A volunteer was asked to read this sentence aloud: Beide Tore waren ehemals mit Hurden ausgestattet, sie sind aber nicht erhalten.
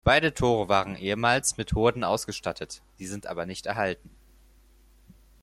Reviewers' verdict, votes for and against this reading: accepted, 6, 0